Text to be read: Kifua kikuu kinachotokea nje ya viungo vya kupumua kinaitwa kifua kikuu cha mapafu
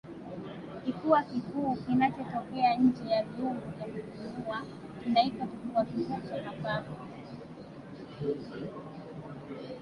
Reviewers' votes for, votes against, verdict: 1, 2, rejected